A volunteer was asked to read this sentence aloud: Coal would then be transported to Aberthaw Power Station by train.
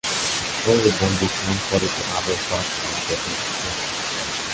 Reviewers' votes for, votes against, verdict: 1, 2, rejected